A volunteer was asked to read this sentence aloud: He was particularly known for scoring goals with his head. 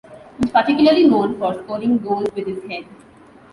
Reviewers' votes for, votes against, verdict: 0, 2, rejected